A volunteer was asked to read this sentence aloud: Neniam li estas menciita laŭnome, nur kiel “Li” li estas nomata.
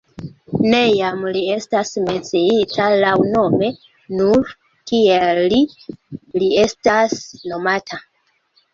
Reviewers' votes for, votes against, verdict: 2, 1, accepted